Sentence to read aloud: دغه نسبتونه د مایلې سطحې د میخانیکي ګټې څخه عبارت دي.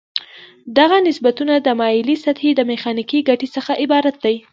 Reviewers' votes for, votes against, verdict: 1, 2, rejected